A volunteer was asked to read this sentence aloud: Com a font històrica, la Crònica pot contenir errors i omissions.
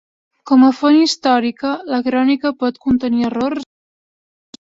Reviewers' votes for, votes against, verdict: 1, 2, rejected